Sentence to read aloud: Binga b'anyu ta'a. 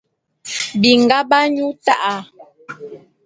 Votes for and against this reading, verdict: 2, 0, accepted